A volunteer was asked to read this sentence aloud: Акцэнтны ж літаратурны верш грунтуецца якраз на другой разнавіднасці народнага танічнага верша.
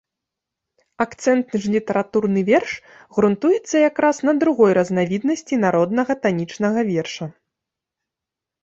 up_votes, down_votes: 1, 2